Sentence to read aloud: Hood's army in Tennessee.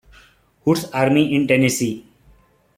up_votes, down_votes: 0, 2